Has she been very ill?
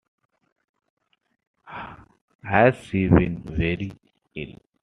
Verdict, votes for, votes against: accepted, 2, 1